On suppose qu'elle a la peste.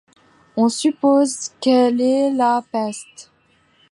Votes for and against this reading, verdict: 0, 2, rejected